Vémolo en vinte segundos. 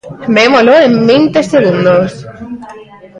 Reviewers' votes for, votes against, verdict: 2, 0, accepted